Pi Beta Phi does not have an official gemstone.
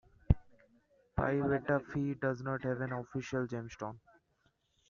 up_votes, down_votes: 2, 0